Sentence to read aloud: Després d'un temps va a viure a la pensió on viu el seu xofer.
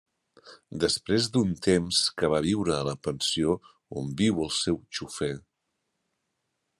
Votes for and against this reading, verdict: 0, 2, rejected